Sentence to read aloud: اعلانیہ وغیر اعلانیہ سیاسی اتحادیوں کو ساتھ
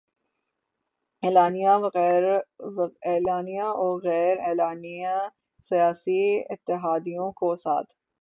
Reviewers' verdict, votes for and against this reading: rejected, 3, 6